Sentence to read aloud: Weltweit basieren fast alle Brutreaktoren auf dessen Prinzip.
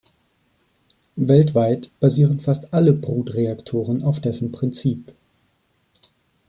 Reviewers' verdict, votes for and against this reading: accepted, 2, 0